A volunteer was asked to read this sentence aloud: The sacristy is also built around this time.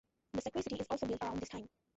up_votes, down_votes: 0, 2